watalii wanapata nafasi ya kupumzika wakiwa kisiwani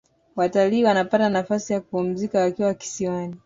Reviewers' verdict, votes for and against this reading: accepted, 2, 0